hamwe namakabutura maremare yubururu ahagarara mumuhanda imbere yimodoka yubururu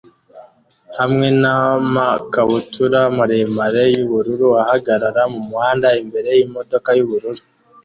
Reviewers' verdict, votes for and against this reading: accepted, 2, 0